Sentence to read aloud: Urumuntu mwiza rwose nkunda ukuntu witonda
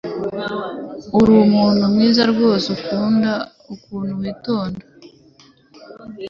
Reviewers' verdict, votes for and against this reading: rejected, 1, 2